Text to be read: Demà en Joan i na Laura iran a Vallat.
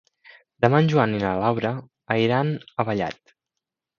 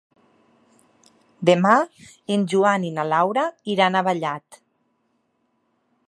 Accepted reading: second